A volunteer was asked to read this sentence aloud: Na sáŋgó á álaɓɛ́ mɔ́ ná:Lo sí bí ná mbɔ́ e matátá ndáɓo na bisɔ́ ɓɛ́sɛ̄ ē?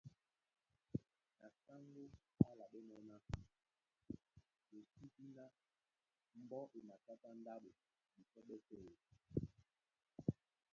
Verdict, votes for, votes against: rejected, 0, 2